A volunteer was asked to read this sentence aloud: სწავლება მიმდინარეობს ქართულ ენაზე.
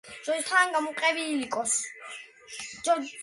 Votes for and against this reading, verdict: 0, 2, rejected